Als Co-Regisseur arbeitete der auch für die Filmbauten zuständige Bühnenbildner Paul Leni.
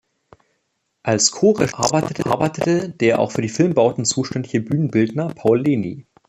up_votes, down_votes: 0, 3